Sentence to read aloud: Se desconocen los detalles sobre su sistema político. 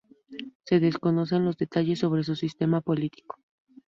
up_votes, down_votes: 0, 2